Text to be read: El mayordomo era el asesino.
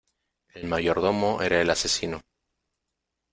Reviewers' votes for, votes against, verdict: 2, 0, accepted